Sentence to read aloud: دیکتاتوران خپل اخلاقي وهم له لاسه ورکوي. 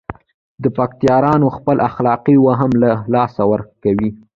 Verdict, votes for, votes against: rejected, 1, 2